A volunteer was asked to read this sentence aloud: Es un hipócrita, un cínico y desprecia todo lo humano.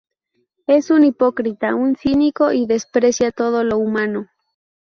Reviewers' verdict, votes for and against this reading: accepted, 2, 0